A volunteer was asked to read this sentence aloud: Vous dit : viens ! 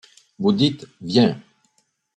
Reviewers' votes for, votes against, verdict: 0, 2, rejected